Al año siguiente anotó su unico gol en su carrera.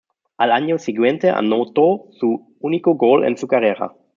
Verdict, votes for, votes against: accepted, 2, 0